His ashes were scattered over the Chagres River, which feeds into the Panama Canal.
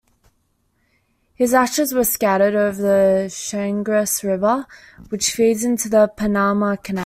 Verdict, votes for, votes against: rejected, 1, 2